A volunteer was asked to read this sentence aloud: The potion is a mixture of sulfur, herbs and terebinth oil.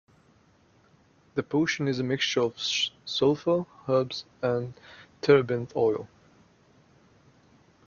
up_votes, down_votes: 0, 3